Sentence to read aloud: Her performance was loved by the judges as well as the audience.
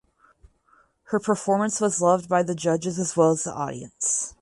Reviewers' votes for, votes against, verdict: 4, 0, accepted